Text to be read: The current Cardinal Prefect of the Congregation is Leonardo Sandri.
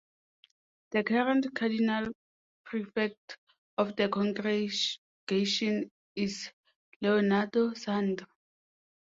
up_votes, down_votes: 0, 2